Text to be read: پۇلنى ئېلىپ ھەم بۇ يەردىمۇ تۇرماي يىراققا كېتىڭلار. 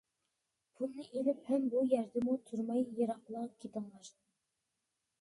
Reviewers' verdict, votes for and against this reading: rejected, 0, 2